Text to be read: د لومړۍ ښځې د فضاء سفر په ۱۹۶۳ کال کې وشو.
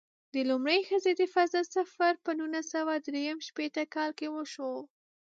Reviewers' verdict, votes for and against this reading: rejected, 0, 2